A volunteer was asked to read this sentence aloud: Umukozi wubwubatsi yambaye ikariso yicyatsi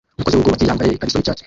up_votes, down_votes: 0, 2